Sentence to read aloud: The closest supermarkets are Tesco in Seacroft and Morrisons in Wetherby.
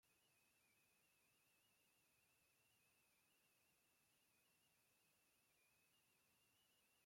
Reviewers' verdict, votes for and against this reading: rejected, 0, 2